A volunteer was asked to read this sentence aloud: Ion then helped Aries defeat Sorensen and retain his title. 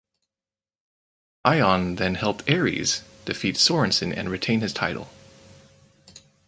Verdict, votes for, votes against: accepted, 4, 0